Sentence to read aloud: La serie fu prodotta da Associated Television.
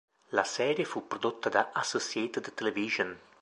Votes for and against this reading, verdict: 4, 0, accepted